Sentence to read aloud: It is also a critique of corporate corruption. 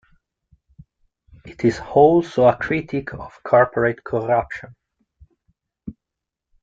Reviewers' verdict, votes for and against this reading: accepted, 3, 0